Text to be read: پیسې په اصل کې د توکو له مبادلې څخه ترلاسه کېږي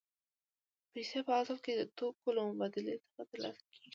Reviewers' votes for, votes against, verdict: 2, 0, accepted